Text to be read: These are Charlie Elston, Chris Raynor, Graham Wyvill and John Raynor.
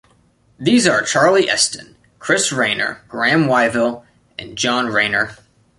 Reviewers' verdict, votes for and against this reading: accepted, 2, 0